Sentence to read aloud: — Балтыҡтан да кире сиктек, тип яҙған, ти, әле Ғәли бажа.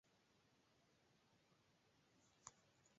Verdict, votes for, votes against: rejected, 0, 2